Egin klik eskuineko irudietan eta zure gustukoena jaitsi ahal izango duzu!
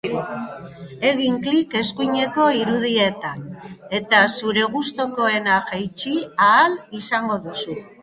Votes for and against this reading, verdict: 2, 0, accepted